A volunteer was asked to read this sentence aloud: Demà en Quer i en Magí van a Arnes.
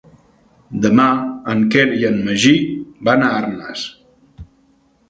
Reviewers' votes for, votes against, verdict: 2, 0, accepted